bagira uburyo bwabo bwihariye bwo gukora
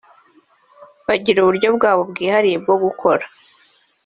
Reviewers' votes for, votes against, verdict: 2, 0, accepted